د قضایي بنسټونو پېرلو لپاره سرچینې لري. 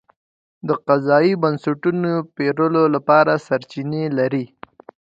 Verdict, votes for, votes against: accepted, 2, 0